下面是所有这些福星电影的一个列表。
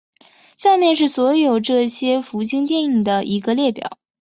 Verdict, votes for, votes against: accepted, 4, 0